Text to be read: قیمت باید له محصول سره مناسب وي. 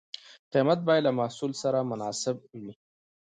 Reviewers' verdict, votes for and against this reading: accepted, 2, 0